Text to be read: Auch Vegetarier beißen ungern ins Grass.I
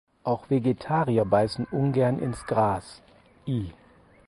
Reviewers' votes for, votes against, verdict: 2, 4, rejected